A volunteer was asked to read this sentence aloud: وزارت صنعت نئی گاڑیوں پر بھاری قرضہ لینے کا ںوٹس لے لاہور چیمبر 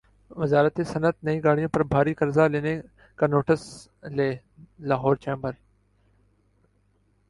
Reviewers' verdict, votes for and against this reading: accepted, 8, 3